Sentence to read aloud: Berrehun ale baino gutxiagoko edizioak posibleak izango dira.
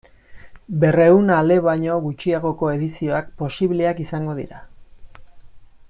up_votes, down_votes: 0, 2